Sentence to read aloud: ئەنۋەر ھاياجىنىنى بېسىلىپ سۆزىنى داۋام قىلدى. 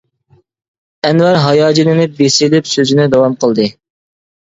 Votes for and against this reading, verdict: 0, 2, rejected